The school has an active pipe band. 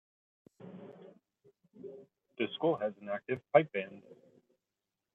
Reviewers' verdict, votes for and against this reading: accepted, 2, 1